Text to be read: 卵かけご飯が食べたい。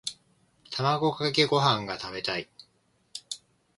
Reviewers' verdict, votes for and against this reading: accepted, 2, 0